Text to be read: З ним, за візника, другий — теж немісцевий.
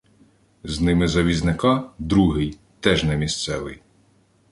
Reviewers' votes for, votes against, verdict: 1, 2, rejected